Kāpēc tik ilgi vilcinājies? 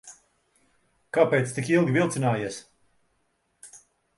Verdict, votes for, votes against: accepted, 2, 0